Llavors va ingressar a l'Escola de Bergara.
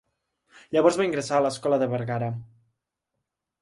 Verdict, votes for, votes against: accepted, 2, 0